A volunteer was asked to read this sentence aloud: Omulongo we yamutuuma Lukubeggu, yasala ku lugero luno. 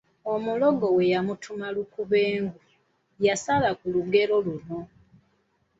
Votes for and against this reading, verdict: 0, 2, rejected